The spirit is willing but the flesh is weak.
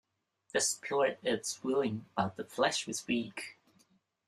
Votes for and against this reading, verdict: 0, 2, rejected